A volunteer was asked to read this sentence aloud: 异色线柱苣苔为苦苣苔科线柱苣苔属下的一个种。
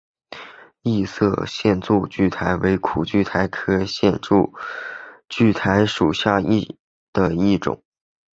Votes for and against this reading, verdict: 3, 0, accepted